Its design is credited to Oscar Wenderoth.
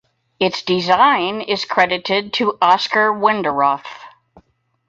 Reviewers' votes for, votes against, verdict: 4, 0, accepted